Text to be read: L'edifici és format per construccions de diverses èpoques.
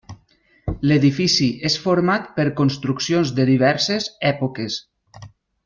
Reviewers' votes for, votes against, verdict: 3, 0, accepted